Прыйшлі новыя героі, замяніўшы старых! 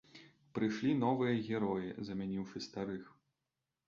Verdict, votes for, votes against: accepted, 3, 0